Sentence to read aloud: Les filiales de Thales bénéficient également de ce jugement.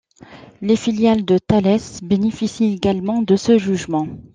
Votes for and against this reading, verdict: 2, 0, accepted